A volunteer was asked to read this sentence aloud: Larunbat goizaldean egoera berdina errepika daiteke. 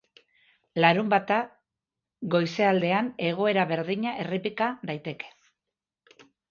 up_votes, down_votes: 0, 3